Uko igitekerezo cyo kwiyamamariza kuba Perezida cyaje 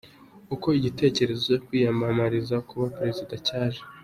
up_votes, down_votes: 2, 0